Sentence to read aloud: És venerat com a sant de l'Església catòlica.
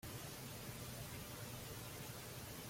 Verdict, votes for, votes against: rejected, 0, 2